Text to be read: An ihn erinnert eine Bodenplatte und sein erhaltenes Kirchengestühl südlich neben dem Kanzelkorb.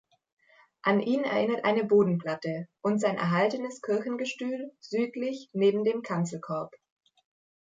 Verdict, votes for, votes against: accepted, 2, 0